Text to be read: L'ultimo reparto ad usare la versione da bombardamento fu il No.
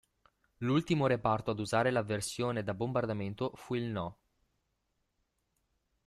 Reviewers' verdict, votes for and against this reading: accepted, 2, 1